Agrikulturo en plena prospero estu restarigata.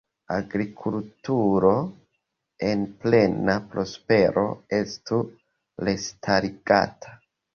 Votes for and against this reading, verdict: 1, 2, rejected